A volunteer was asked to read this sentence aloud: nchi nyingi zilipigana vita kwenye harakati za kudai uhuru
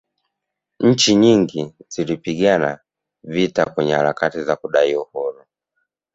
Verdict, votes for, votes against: accepted, 2, 0